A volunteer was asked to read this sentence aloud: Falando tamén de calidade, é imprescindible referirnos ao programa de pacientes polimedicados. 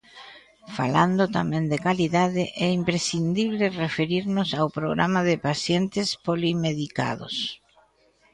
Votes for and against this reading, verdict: 0, 2, rejected